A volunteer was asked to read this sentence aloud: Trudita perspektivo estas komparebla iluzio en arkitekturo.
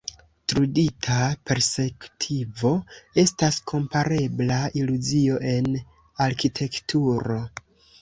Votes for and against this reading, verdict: 1, 2, rejected